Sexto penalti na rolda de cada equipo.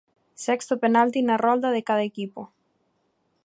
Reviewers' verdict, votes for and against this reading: accepted, 2, 0